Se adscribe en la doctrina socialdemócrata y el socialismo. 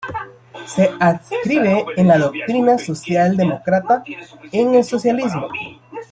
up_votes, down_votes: 0, 2